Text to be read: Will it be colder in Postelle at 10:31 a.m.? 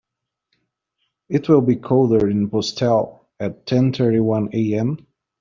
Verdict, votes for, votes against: rejected, 0, 2